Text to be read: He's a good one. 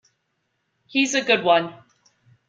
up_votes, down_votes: 2, 0